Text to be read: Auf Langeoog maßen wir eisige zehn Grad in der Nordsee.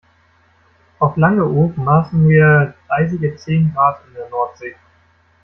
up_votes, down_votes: 2, 0